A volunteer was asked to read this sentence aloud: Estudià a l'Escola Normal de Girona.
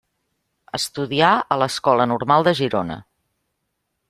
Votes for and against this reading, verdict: 3, 0, accepted